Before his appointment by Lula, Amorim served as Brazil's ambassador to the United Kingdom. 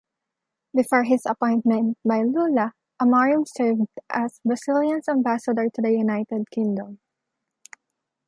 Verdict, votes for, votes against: rejected, 1, 2